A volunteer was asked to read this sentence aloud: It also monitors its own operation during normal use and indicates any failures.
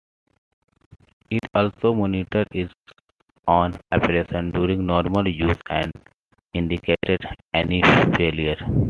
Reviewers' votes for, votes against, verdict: 2, 0, accepted